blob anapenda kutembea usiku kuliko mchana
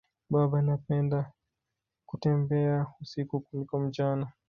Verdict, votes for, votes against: rejected, 0, 2